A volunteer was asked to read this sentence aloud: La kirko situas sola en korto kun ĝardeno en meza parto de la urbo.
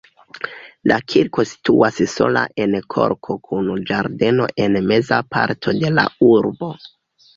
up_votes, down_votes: 2, 0